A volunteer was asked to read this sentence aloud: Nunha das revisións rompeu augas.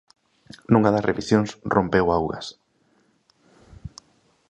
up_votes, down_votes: 3, 0